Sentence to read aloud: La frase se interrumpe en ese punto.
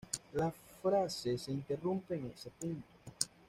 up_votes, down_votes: 2, 0